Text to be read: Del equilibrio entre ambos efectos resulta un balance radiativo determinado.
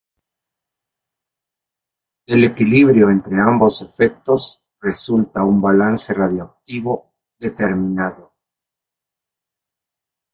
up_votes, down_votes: 2, 1